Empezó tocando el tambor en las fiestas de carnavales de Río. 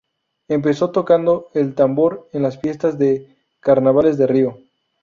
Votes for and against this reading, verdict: 0, 2, rejected